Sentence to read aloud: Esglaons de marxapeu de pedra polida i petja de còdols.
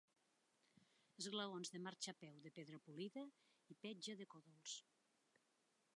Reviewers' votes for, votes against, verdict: 2, 0, accepted